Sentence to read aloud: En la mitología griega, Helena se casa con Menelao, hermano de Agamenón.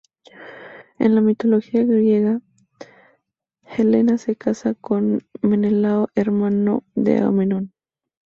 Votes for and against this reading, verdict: 2, 2, rejected